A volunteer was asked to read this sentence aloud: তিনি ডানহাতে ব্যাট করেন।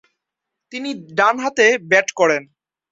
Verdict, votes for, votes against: accepted, 2, 0